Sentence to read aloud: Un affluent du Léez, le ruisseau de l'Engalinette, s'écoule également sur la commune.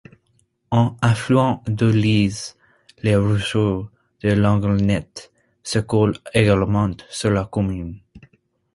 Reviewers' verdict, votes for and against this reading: rejected, 0, 2